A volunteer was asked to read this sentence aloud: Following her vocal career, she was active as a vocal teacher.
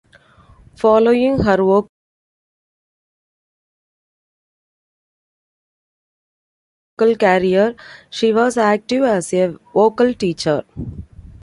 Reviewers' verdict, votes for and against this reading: rejected, 1, 2